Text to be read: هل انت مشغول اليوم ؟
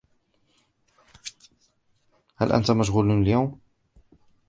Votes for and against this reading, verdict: 1, 2, rejected